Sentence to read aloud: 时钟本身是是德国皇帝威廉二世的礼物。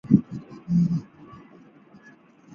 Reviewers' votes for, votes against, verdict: 0, 3, rejected